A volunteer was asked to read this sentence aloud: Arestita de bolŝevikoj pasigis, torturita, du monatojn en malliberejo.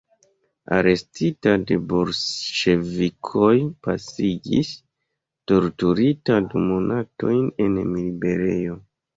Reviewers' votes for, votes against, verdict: 1, 2, rejected